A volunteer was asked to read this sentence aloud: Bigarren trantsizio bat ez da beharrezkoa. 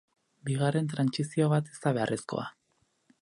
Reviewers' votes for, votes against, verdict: 4, 0, accepted